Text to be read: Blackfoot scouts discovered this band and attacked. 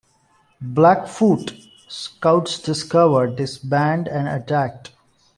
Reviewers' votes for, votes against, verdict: 3, 0, accepted